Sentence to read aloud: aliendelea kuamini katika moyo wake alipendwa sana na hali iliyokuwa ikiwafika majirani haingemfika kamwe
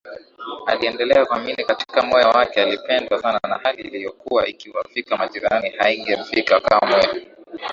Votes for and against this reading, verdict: 2, 0, accepted